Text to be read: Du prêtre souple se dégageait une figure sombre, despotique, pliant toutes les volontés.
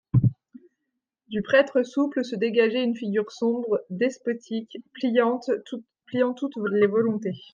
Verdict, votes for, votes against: rejected, 0, 2